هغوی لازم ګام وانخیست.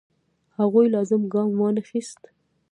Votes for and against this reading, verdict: 0, 2, rejected